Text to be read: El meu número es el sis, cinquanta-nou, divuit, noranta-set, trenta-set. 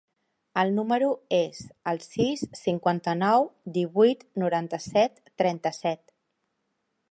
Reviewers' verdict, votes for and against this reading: accepted, 2, 0